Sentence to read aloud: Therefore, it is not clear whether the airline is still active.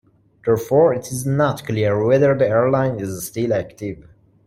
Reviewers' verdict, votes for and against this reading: accepted, 2, 1